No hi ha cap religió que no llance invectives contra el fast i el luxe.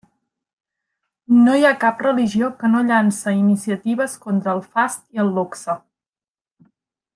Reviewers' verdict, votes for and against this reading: rejected, 0, 2